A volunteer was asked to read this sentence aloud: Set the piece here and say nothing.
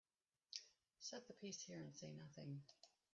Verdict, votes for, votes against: rejected, 0, 2